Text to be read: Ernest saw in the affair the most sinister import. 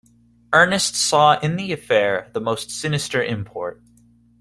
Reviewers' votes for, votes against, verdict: 2, 0, accepted